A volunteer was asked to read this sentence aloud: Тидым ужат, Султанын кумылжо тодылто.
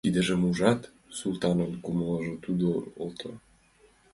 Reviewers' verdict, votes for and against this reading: rejected, 0, 3